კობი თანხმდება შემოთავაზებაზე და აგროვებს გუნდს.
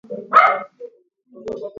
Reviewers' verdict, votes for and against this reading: rejected, 0, 2